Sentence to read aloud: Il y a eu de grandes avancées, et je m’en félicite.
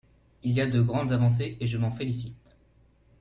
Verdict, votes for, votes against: rejected, 0, 2